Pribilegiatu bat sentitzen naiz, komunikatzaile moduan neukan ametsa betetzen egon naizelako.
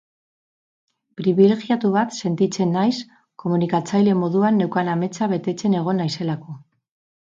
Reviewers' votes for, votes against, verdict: 4, 0, accepted